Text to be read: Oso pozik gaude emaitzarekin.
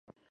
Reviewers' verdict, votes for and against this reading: rejected, 0, 3